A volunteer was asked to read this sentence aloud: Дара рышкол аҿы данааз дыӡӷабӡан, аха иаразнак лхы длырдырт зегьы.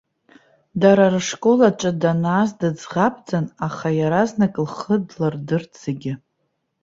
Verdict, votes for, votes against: accepted, 2, 0